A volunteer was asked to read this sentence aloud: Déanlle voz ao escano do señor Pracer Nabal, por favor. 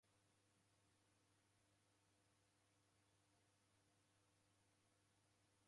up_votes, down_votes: 0, 2